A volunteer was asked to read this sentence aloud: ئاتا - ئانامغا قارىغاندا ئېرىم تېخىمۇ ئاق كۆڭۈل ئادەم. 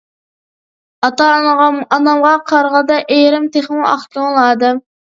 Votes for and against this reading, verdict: 0, 2, rejected